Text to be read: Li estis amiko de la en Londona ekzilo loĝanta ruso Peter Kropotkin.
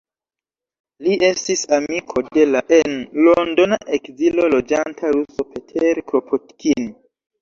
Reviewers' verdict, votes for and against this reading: rejected, 0, 2